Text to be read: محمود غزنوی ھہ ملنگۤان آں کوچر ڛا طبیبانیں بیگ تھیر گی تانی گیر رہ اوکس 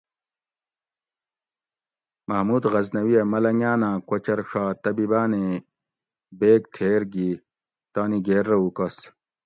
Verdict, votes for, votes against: accepted, 2, 0